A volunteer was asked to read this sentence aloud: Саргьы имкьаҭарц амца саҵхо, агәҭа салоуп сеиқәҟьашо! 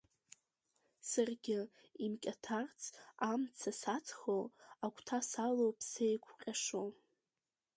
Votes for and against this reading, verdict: 2, 1, accepted